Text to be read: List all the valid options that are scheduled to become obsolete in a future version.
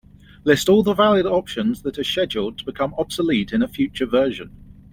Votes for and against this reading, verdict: 2, 0, accepted